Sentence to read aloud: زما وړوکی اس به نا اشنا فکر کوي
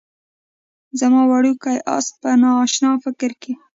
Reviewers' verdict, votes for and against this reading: rejected, 1, 2